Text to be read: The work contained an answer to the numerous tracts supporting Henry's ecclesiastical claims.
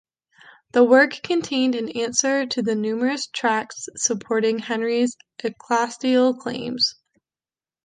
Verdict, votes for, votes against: rejected, 0, 2